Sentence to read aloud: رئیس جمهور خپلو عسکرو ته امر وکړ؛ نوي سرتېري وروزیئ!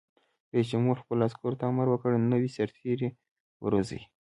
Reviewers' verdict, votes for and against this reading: accepted, 2, 0